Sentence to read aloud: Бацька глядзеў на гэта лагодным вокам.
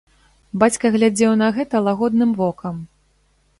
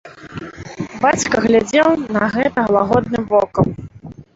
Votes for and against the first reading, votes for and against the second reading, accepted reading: 2, 0, 1, 2, first